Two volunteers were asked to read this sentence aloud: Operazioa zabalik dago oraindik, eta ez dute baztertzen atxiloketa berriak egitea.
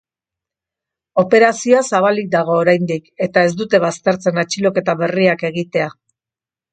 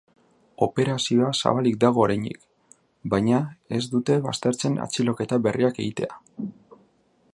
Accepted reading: first